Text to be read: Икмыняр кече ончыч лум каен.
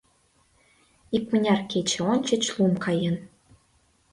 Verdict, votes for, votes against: accepted, 2, 0